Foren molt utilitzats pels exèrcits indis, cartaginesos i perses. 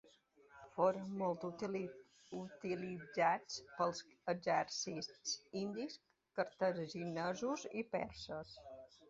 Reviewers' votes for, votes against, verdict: 0, 3, rejected